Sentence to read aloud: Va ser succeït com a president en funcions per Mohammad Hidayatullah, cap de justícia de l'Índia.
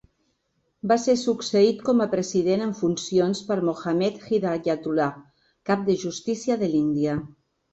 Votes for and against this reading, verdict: 2, 0, accepted